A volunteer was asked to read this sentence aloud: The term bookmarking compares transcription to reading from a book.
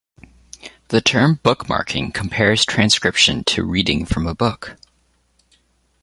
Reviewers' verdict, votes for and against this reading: accepted, 2, 1